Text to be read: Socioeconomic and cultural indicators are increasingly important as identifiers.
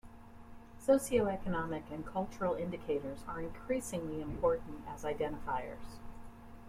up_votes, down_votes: 2, 1